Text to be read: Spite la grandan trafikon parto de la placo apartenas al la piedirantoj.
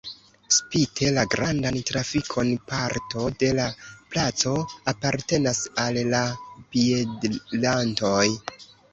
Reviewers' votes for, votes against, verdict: 0, 2, rejected